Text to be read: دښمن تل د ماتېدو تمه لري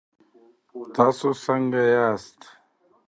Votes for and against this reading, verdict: 0, 2, rejected